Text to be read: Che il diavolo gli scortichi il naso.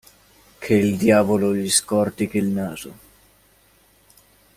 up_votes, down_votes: 2, 0